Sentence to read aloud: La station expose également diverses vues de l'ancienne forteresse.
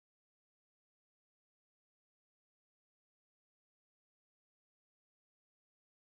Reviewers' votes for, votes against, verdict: 0, 2, rejected